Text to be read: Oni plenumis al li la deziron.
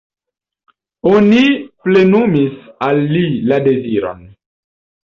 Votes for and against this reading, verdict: 1, 2, rejected